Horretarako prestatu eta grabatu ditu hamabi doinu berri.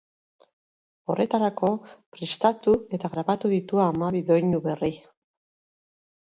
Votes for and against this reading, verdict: 2, 2, rejected